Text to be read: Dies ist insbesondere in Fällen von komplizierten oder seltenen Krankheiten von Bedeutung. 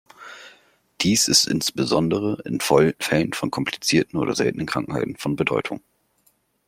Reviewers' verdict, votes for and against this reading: rejected, 0, 2